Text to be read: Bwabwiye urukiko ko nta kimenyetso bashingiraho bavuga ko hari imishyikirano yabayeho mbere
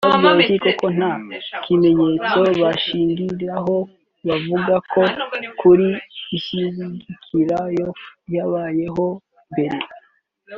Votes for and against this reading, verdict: 2, 3, rejected